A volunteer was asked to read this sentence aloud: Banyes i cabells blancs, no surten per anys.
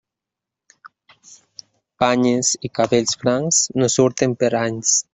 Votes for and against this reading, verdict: 2, 1, accepted